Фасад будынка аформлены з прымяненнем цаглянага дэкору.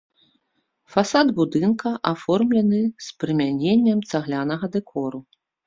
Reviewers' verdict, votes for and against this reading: accepted, 2, 0